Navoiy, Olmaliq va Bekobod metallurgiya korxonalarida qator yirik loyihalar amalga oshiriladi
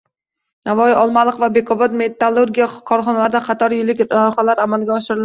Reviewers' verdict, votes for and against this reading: rejected, 0, 2